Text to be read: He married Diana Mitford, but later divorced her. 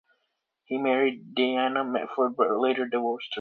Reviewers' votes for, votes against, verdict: 2, 1, accepted